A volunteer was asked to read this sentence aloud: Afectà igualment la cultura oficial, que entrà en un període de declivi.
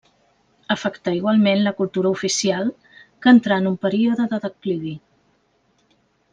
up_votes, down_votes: 2, 0